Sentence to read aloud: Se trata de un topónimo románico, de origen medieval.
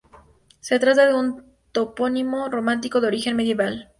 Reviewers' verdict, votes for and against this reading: rejected, 0, 2